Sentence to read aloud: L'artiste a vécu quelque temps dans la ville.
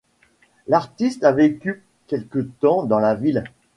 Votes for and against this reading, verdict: 2, 0, accepted